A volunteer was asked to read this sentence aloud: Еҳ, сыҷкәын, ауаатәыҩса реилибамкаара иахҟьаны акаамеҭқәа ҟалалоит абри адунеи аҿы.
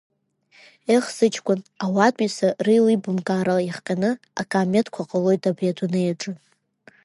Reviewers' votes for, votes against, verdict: 2, 0, accepted